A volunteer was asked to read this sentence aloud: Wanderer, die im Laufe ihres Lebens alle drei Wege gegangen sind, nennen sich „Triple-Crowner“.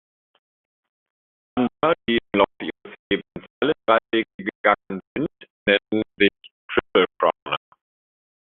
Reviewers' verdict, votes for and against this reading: rejected, 0, 2